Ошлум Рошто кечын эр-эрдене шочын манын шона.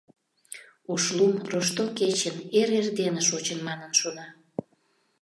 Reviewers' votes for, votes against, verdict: 2, 0, accepted